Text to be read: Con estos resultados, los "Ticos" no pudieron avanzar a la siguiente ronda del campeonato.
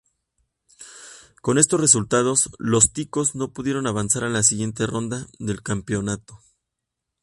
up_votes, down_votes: 2, 0